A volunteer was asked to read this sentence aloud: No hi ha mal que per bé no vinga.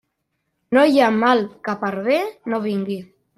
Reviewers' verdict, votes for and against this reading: rejected, 1, 2